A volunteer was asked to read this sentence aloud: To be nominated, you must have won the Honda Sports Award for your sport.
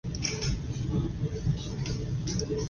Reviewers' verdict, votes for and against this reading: rejected, 0, 2